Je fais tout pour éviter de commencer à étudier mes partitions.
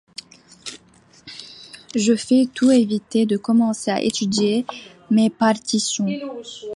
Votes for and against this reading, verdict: 0, 2, rejected